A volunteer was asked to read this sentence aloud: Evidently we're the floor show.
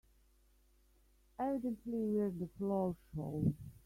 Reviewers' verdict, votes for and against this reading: rejected, 1, 3